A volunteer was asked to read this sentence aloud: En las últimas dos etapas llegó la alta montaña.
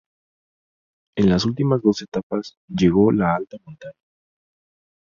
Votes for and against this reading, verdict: 0, 2, rejected